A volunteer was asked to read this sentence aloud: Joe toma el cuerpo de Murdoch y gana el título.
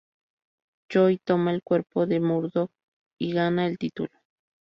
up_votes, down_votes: 4, 2